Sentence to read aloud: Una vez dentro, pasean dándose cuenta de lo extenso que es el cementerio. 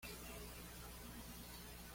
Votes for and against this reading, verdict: 1, 2, rejected